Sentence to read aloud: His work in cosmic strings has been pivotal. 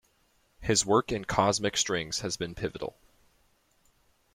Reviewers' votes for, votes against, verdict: 2, 0, accepted